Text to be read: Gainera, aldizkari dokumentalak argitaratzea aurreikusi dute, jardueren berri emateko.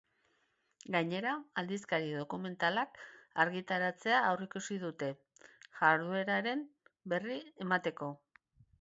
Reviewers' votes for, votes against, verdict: 0, 2, rejected